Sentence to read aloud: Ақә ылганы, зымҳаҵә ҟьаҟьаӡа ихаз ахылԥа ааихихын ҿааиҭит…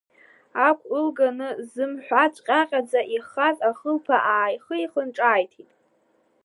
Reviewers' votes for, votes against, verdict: 1, 2, rejected